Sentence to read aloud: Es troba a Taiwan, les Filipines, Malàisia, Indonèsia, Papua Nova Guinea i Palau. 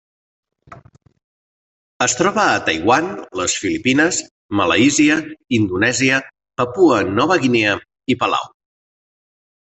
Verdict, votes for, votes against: rejected, 0, 2